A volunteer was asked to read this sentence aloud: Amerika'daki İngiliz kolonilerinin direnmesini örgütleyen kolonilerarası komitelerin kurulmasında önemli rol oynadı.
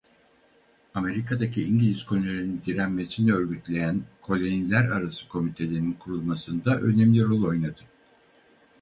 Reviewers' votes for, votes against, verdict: 2, 2, rejected